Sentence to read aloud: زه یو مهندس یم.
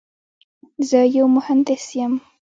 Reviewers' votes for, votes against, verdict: 0, 2, rejected